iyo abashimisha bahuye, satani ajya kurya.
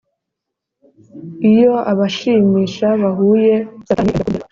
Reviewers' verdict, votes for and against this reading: rejected, 0, 2